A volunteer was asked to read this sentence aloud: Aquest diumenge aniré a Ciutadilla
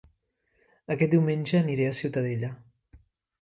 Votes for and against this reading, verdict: 0, 2, rejected